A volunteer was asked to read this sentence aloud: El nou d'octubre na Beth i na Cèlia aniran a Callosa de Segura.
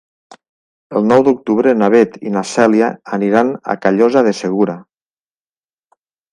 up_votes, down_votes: 3, 0